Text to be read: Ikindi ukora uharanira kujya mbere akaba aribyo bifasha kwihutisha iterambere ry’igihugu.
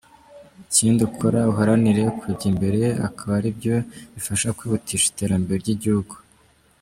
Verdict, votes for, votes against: rejected, 0, 2